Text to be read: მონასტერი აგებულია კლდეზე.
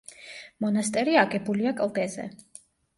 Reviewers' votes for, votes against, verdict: 2, 0, accepted